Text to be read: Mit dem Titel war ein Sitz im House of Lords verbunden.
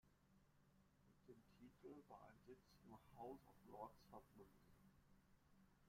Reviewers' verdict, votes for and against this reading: rejected, 0, 2